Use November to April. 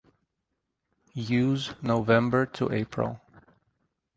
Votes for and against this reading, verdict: 2, 0, accepted